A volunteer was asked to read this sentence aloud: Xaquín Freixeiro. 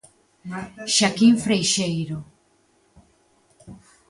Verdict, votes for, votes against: rejected, 1, 2